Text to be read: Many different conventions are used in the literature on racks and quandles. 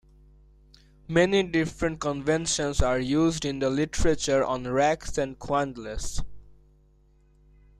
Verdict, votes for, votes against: accepted, 2, 0